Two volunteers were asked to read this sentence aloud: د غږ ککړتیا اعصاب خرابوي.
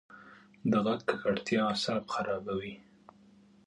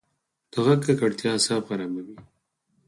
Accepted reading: second